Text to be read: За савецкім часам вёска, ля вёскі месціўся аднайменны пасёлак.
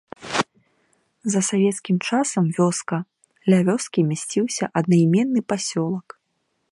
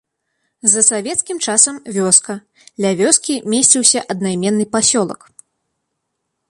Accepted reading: second